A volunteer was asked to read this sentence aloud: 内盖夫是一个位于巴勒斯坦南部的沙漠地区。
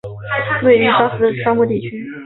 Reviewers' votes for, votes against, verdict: 0, 4, rejected